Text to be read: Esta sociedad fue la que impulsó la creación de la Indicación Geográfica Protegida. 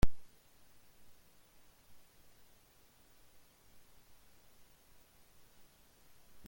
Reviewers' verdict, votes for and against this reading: rejected, 0, 2